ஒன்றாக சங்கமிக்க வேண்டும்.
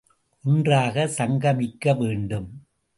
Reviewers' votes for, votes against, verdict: 2, 0, accepted